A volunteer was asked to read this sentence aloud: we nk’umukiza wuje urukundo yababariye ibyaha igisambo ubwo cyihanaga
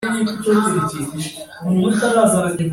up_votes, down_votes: 1, 2